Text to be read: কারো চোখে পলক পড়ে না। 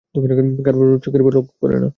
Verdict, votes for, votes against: rejected, 0, 2